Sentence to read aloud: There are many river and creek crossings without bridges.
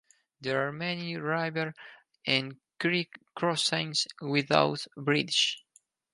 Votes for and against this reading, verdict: 2, 4, rejected